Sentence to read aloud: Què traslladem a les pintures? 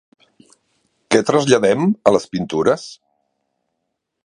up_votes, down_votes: 4, 1